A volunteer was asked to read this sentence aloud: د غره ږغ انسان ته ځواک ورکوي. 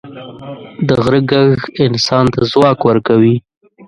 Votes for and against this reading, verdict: 1, 3, rejected